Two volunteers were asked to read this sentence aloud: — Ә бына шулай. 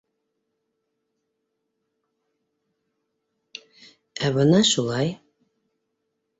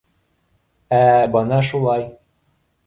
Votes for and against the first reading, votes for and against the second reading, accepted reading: 2, 3, 2, 0, second